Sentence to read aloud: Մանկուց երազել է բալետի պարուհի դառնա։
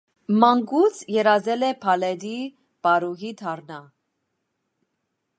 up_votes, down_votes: 1, 2